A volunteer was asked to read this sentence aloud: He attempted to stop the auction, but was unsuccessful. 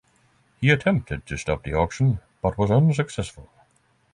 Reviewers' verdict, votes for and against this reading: accepted, 6, 0